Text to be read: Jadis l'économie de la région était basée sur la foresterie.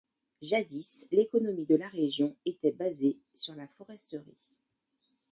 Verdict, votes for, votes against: accepted, 3, 0